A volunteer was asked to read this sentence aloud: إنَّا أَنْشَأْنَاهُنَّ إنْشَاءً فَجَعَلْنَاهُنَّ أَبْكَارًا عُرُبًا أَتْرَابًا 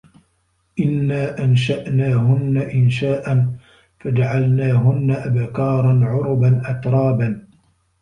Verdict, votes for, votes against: rejected, 0, 2